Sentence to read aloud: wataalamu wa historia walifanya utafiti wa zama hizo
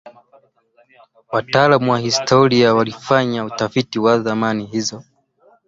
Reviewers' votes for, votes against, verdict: 0, 2, rejected